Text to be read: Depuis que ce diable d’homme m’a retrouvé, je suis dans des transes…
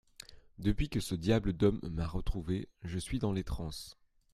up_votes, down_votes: 0, 2